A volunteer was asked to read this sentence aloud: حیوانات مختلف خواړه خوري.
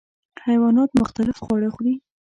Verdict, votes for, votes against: rejected, 1, 2